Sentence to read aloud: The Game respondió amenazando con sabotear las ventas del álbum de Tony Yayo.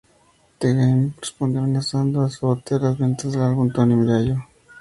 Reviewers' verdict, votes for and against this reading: rejected, 0, 2